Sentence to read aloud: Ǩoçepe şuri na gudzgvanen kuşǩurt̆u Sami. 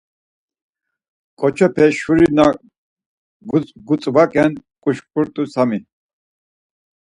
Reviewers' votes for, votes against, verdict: 2, 4, rejected